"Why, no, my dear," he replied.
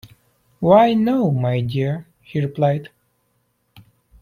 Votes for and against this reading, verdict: 2, 0, accepted